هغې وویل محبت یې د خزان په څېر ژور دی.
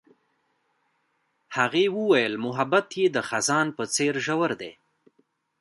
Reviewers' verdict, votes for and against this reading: accepted, 2, 1